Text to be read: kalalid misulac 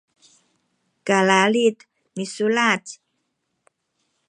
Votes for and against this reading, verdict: 2, 0, accepted